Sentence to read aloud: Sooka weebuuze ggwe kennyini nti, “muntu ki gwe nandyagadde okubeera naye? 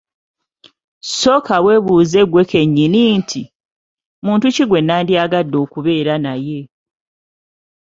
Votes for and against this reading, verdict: 2, 0, accepted